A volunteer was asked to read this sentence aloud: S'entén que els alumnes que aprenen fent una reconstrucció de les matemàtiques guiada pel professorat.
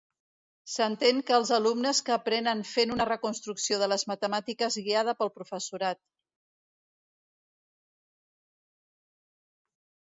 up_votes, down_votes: 2, 0